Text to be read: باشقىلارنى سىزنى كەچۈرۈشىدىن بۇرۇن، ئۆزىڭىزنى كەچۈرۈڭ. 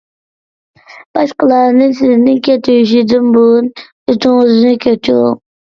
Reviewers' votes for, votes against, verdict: 1, 2, rejected